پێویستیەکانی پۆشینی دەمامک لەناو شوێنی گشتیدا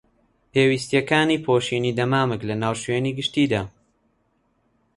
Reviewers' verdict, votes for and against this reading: accepted, 3, 0